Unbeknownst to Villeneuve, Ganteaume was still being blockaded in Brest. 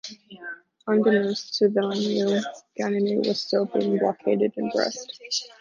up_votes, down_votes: 0, 2